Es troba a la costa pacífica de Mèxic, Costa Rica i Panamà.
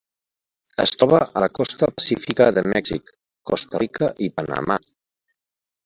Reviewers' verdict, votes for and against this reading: accepted, 2, 0